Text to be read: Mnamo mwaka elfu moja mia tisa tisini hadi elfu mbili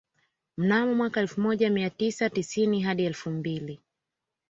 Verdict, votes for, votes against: accepted, 2, 0